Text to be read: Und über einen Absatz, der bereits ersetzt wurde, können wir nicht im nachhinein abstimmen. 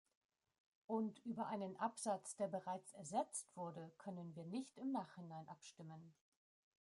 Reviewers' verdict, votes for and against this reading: rejected, 0, 2